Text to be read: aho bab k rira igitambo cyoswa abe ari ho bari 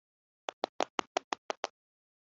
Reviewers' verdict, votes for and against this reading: rejected, 0, 2